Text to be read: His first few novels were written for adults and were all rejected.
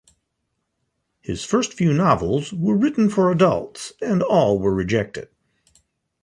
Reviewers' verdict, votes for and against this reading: rejected, 1, 2